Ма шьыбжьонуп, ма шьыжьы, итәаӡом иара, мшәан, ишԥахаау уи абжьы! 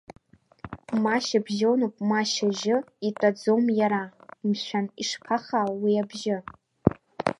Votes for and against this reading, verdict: 1, 2, rejected